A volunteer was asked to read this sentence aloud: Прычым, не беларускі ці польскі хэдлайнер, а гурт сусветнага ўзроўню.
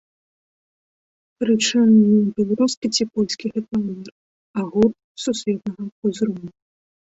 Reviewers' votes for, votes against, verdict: 0, 2, rejected